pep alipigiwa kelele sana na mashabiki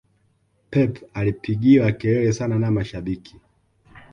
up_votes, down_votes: 2, 0